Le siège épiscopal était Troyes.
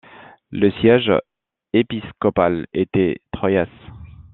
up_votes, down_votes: 1, 2